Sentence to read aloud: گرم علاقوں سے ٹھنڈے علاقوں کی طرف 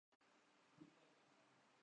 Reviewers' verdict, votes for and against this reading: rejected, 0, 2